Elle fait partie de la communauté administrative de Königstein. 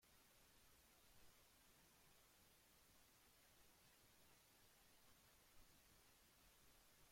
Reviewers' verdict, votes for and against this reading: rejected, 0, 2